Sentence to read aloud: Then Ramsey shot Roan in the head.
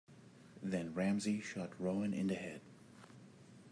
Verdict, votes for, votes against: accepted, 2, 0